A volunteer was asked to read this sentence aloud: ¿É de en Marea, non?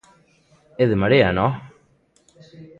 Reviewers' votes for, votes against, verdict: 2, 0, accepted